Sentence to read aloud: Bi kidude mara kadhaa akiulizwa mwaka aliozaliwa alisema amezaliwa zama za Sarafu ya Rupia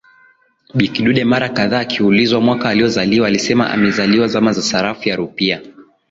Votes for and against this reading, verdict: 2, 1, accepted